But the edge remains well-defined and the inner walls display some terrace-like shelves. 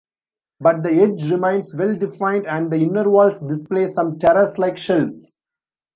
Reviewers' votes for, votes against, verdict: 2, 1, accepted